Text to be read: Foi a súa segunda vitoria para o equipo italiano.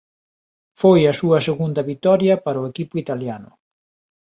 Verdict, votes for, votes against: accepted, 2, 0